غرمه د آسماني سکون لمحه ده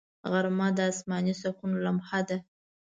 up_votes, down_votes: 2, 0